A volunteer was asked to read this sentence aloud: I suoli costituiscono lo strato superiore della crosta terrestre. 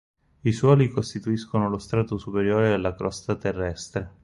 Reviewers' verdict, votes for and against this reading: rejected, 0, 4